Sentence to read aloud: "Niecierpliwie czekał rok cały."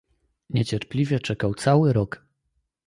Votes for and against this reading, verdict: 0, 2, rejected